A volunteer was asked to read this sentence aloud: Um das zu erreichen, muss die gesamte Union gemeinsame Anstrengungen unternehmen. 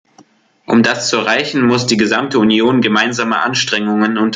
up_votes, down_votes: 0, 2